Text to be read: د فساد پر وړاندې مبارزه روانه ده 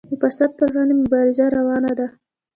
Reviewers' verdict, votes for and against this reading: rejected, 1, 2